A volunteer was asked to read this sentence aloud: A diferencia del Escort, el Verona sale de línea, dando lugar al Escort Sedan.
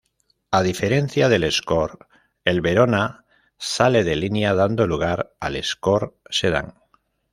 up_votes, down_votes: 2, 0